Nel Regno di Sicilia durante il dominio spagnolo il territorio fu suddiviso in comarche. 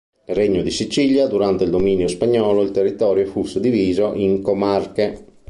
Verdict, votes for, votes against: rejected, 1, 2